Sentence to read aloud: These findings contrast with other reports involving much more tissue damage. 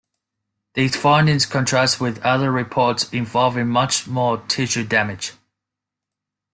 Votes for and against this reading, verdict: 2, 0, accepted